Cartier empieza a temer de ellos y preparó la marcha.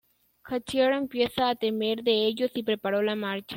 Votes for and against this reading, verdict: 2, 1, accepted